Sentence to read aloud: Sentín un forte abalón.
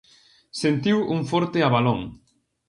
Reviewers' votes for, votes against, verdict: 0, 2, rejected